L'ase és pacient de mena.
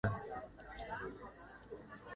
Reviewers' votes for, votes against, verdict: 0, 2, rejected